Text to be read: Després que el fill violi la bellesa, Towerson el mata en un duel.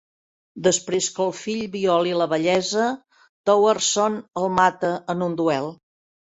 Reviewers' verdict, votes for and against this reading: accepted, 3, 0